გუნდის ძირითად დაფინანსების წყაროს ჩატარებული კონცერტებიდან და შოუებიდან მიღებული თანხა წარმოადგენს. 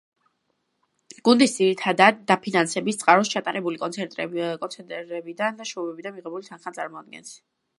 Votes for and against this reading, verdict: 0, 2, rejected